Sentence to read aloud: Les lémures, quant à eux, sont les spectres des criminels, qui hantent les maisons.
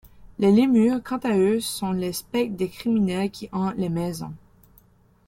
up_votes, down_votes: 2, 1